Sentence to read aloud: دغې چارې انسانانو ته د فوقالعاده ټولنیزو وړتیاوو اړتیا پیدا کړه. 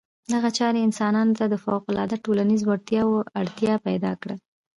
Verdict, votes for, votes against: accepted, 2, 0